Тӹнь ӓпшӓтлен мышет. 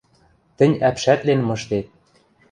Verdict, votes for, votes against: rejected, 1, 2